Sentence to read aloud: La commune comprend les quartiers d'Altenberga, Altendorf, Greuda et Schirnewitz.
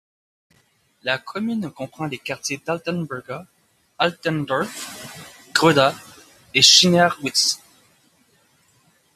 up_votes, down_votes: 1, 2